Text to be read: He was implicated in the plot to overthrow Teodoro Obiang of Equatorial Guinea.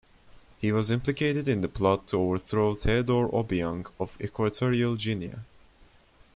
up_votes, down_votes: 1, 2